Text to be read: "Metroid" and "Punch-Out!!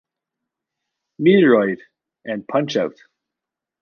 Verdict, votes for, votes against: rejected, 0, 2